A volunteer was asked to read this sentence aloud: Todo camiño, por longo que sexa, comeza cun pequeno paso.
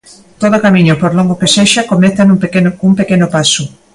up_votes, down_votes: 0, 2